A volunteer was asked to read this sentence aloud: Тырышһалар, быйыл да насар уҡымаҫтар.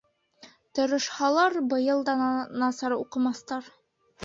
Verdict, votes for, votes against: rejected, 1, 2